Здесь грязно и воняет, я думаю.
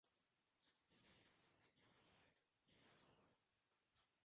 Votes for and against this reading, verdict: 0, 2, rejected